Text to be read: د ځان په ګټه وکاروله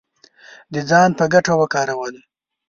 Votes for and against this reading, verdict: 2, 0, accepted